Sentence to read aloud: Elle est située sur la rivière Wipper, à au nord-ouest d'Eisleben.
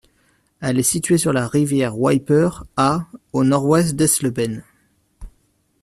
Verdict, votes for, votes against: accepted, 2, 0